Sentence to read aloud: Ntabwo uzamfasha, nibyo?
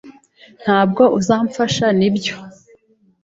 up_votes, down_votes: 2, 0